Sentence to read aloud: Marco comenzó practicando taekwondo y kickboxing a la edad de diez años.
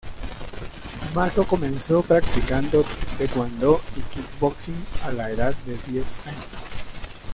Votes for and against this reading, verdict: 1, 2, rejected